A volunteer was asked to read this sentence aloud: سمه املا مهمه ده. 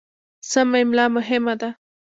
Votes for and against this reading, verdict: 2, 0, accepted